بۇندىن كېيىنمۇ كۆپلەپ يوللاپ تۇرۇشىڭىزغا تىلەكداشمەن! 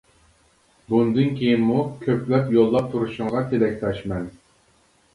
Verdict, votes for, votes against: rejected, 0, 2